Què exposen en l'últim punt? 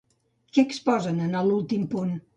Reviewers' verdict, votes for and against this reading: rejected, 0, 2